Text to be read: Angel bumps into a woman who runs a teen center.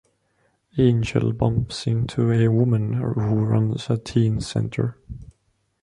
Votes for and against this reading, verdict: 2, 0, accepted